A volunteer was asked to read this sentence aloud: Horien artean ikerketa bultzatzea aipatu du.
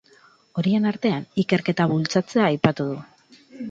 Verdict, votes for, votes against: accepted, 6, 0